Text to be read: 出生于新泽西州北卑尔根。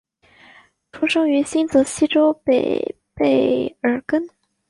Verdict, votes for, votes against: accepted, 3, 0